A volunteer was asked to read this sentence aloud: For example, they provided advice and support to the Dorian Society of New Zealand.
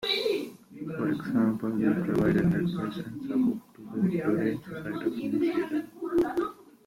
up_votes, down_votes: 0, 2